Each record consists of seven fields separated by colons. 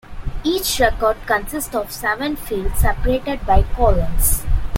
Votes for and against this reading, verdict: 2, 0, accepted